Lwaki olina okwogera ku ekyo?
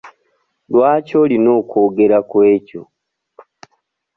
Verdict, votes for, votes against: accepted, 2, 0